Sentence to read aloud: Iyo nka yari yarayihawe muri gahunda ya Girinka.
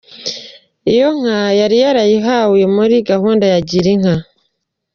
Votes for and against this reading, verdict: 1, 2, rejected